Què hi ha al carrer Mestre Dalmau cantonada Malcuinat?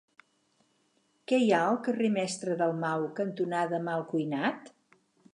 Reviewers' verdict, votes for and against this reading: accepted, 6, 0